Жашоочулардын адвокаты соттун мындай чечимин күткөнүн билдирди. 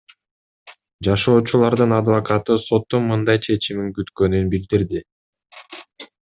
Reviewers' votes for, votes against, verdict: 2, 0, accepted